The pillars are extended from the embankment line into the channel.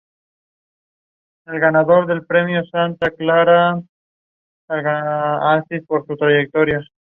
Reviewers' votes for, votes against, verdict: 0, 2, rejected